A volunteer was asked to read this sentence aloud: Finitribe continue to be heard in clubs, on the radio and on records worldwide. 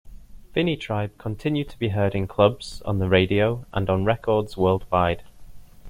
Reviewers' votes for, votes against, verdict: 2, 0, accepted